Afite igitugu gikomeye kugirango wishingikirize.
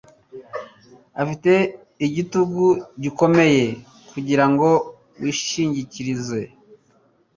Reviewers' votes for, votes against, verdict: 3, 0, accepted